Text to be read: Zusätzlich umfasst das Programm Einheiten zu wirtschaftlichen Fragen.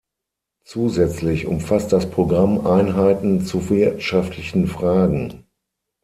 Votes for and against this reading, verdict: 0, 6, rejected